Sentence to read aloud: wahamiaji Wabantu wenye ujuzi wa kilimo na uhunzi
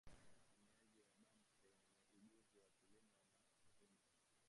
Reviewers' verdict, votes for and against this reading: rejected, 0, 2